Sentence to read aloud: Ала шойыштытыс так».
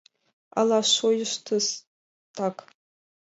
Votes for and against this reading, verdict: 0, 2, rejected